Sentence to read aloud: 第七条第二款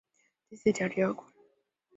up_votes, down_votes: 2, 6